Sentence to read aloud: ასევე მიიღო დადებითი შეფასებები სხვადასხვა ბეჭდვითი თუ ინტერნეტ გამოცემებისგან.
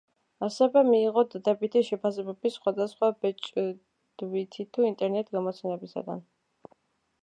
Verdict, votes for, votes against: rejected, 1, 2